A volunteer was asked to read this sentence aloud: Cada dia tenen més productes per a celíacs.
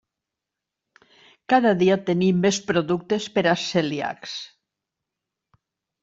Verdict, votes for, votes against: rejected, 0, 2